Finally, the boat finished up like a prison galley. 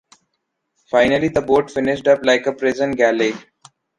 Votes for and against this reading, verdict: 2, 0, accepted